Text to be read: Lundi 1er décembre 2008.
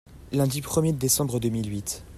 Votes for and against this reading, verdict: 0, 2, rejected